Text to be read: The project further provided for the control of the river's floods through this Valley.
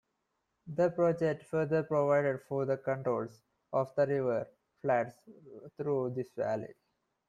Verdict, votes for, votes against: rejected, 1, 2